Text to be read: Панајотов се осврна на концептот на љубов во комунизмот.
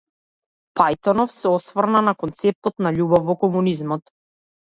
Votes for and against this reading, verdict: 0, 2, rejected